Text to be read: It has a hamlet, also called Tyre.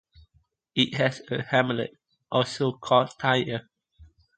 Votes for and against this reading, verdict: 2, 0, accepted